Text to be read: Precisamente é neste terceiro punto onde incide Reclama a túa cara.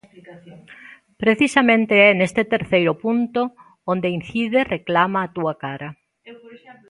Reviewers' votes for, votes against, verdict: 2, 0, accepted